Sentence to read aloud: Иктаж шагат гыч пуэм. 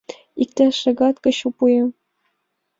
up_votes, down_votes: 0, 2